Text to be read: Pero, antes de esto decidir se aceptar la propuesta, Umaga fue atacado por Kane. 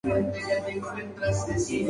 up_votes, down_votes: 2, 0